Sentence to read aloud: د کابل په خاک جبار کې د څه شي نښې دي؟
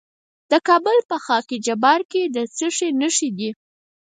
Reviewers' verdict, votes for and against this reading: rejected, 0, 4